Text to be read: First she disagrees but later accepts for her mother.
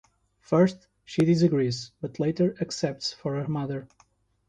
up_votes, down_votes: 2, 0